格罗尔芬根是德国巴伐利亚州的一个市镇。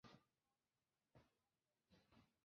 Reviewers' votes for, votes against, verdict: 0, 3, rejected